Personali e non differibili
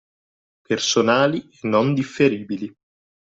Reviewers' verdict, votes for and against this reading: rejected, 0, 2